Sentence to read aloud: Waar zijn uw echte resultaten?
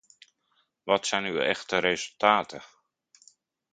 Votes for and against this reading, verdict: 0, 2, rejected